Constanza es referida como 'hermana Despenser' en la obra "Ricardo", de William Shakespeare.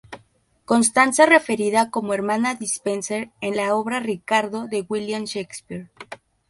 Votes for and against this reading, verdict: 4, 0, accepted